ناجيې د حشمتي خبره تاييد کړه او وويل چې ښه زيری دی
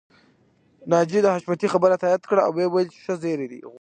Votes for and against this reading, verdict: 1, 2, rejected